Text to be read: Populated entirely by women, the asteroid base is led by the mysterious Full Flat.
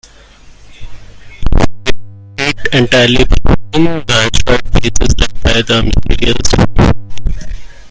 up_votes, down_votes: 0, 2